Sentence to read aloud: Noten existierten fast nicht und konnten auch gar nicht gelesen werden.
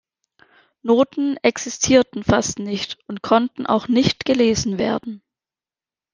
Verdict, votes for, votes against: rejected, 0, 2